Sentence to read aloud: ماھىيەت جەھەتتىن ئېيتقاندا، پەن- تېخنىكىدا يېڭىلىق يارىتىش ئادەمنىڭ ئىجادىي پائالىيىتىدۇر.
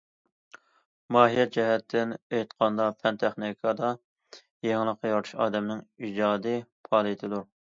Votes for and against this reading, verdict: 2, 0, accepted